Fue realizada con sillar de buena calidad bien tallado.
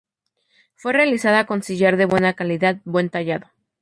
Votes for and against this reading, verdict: 0, 2, rejected